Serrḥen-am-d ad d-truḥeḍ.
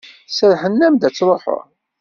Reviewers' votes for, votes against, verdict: 2, 0, accepted